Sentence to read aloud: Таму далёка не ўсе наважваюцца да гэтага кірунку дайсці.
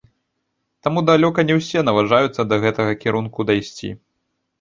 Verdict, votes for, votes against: rejected, 0, 2